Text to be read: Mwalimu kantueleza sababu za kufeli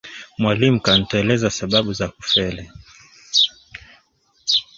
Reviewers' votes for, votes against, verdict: 1, 2, rejected